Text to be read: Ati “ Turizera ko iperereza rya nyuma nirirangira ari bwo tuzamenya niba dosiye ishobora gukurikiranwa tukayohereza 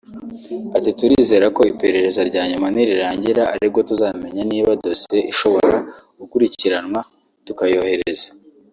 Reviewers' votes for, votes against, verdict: 2, 0, accepted